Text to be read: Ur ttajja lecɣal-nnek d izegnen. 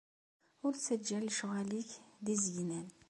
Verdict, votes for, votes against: accepted, 2, 0